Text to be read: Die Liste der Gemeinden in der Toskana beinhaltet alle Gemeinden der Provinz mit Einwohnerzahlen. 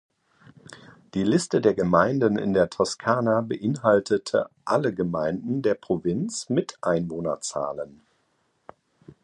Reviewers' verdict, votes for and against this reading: rejected, 0, 2